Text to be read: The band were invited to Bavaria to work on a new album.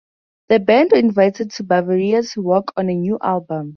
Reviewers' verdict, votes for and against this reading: rejected, 0, 4